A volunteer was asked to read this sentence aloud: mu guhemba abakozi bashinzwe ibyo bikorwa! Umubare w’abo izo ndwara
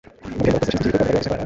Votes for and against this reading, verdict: 1, 2, rejected